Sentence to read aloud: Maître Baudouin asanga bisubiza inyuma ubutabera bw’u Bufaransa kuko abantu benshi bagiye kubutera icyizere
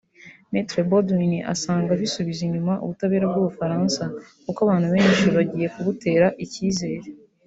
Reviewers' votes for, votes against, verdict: 1, 2, rejected